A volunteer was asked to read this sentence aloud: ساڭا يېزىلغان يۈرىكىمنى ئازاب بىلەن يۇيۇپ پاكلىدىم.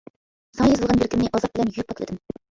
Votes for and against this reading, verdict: 0, 2, rejected